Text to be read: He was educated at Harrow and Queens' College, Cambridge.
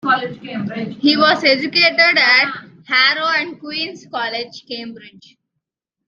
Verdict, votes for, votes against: accepted, 2, 1